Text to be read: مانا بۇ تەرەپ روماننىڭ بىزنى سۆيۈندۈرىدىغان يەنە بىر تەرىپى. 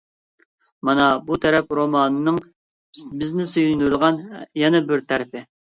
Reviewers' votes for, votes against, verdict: 1, 2, rejected